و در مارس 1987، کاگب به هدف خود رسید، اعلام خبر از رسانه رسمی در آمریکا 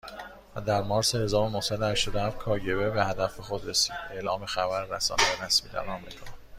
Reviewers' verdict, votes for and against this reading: rejected, 0, 2